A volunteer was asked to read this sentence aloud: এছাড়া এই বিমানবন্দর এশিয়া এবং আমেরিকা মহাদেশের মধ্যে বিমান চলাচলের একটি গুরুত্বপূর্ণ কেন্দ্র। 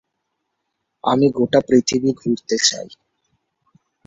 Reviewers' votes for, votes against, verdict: 0, 2, rejected